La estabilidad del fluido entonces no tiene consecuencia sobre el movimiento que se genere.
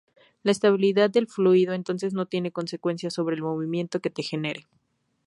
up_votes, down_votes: 0, 2